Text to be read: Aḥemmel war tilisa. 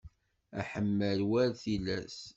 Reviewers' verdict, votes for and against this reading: rejected, 1, 2